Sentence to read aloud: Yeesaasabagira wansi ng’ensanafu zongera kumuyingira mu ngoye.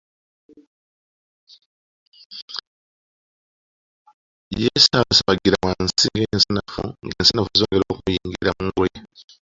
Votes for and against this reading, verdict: 0, 2, rejected